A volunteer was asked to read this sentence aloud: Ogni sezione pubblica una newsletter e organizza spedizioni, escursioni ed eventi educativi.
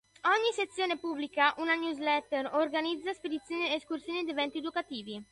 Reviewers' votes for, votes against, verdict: 0, 2, rejected